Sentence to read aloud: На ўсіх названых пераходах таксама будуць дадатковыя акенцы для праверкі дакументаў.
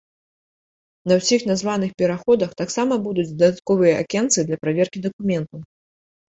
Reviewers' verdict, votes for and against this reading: rejected, 2, 3